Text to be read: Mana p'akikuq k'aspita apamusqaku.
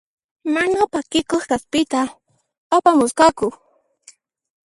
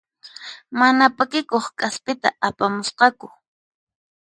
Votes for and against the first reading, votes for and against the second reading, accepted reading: 0, 2, 4, 0, second